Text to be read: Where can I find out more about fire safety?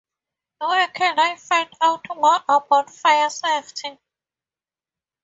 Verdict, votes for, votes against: accepted, 2, 0